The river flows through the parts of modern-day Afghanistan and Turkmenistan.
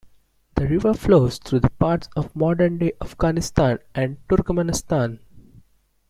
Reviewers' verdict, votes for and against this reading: accepted, 2, 0